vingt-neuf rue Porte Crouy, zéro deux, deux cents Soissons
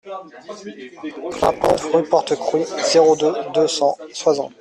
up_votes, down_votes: 0, 2